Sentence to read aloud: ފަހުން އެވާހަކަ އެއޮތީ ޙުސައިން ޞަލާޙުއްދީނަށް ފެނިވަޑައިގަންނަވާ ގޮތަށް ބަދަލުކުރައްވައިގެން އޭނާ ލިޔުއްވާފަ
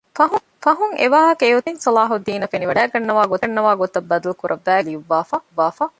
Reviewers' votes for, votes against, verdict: 0, 2, rejected